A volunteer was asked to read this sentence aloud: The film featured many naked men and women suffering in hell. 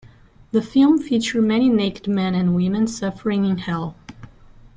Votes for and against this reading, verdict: 1, 2, rejected